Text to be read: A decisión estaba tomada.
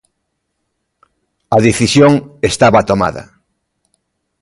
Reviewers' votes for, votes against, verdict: 2, 0, accepted